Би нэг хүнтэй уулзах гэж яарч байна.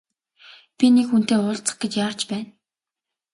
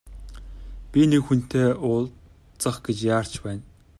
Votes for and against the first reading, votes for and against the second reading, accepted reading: 2, 0, 1, 2, first